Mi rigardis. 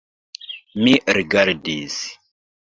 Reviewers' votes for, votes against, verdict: 2, 1, accepted